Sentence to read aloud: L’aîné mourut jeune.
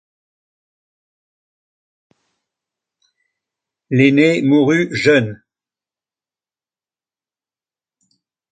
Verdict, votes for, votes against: rejected, 0, 2